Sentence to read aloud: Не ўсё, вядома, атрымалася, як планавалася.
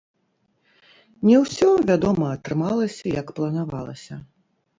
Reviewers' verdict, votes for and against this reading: rejected, 1, 2